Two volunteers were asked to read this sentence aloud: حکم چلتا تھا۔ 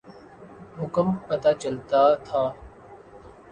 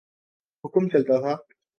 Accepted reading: second